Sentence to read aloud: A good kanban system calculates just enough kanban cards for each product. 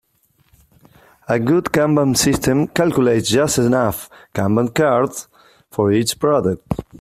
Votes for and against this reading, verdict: 2, 0, accepted